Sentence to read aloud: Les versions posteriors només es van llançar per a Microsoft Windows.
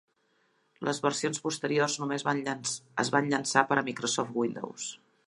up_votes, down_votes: 0, 2